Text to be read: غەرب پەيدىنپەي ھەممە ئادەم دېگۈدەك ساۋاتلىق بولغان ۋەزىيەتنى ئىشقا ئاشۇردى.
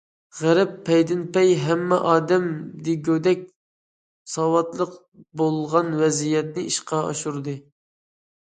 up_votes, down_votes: 2, 0